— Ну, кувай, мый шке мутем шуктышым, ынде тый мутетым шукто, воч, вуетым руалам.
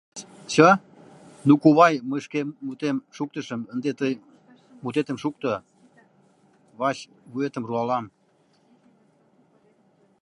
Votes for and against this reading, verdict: 0, 2, rejected